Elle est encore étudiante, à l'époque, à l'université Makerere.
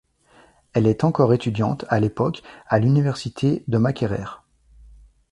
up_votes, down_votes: 1, 2